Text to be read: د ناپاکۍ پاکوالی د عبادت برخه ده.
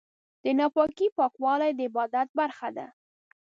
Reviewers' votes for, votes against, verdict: 2, 0, accepted